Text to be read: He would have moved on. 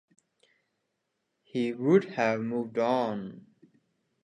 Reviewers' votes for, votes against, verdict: 2, 0, accepted